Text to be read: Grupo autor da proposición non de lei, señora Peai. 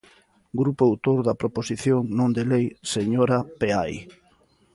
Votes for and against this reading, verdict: 2, 0, accepted